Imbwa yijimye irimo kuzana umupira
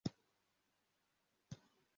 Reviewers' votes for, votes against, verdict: 0, 2, rejected